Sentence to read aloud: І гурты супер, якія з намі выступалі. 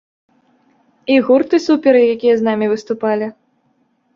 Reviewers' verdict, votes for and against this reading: rejected, 1, 2